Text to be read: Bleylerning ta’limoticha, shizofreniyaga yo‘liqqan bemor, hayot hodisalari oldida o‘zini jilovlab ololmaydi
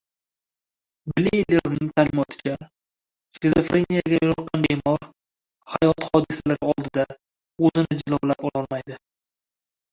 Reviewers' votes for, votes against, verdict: 1, 2, rejected